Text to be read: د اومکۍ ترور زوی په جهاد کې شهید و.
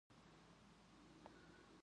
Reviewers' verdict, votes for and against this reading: rejected, 0, 2